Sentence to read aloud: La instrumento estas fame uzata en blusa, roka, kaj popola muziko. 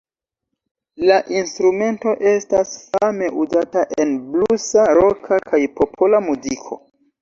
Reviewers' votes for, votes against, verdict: 2, 0, accepted